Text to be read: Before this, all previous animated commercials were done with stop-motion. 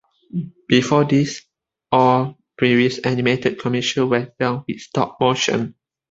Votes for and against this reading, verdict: 2, 1, accepted